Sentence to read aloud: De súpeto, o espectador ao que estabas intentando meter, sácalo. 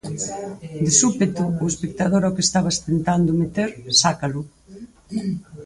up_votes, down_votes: 0, 4